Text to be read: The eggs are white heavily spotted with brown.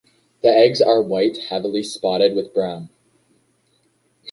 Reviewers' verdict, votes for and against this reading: accepted, 2, 0